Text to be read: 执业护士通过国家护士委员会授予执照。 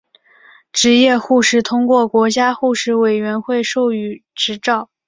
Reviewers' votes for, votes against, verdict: 5, 2, accepted